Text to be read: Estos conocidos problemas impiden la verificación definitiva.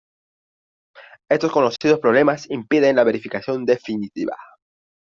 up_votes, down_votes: 2, 0